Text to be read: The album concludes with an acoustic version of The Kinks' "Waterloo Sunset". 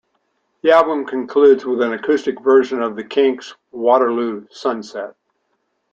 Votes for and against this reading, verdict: 2, 0, accepted